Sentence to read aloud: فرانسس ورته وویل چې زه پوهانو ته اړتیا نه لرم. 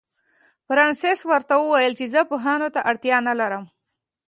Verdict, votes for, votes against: accepted, 4, 0